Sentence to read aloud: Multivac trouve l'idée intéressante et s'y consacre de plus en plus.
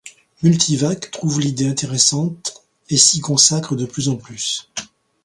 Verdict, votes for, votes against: accepted, 3, 0